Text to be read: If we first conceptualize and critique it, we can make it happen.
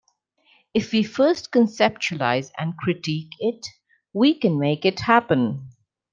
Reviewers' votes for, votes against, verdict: 2, 0, accepted